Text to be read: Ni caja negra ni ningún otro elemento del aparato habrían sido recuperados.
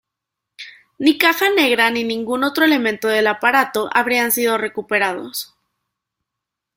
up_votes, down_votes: 2, 0